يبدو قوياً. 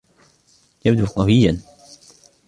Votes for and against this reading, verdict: 0, 2, rejected